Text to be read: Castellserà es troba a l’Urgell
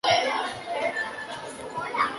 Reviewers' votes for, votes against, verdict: 1, 2, rejected